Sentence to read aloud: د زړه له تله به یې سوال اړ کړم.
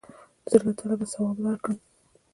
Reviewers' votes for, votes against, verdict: 1, 2, rejected